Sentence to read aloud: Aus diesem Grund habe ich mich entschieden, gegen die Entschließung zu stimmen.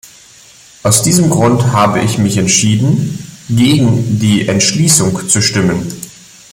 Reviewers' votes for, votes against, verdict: 2, 0, accepted